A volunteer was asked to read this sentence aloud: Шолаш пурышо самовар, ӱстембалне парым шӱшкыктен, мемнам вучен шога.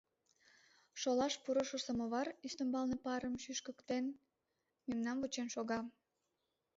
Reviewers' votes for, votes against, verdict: 2, 1, accepted